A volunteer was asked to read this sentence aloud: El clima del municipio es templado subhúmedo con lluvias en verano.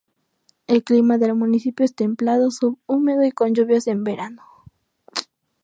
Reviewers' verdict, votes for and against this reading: rejected, 0, 2